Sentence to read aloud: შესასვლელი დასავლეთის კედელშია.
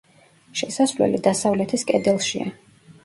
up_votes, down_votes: 1, 2